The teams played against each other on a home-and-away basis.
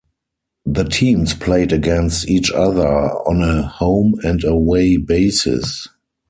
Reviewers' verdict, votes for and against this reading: accepted, 4, 0